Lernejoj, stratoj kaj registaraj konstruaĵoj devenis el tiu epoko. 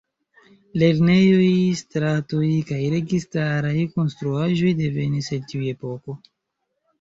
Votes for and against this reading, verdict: 2, 0, accepted